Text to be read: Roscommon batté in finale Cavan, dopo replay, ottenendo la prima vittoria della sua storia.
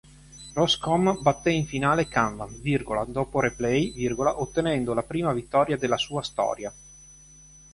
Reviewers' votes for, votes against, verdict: 2, 3, rejected